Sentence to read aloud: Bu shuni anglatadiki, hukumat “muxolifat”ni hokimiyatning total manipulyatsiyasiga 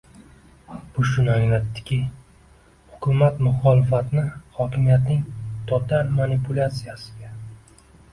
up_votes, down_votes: 1, 2